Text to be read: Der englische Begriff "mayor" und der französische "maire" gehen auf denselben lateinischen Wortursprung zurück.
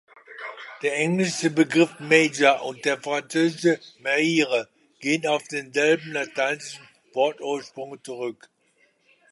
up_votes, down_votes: 1, 2